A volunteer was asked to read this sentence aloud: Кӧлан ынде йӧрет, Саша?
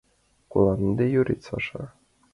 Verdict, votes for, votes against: rejected, 0, 2